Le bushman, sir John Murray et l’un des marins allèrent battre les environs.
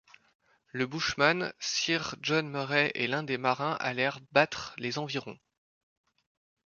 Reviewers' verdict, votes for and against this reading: rejected, 1, 2